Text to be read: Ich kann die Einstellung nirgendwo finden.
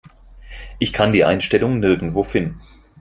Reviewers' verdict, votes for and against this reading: accepted, 4, 0